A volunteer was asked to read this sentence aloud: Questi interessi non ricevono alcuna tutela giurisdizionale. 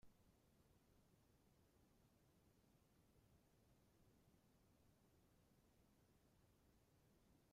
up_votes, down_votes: 0, 2